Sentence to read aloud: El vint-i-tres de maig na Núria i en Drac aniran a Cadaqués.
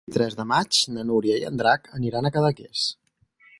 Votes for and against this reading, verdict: 0, 4, rejected